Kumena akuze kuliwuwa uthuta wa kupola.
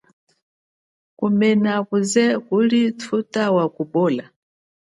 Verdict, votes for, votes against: accepted, 2, 0